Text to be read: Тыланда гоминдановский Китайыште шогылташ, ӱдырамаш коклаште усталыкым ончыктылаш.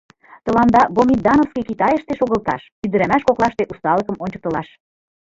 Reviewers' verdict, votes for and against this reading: accepted, 2, 1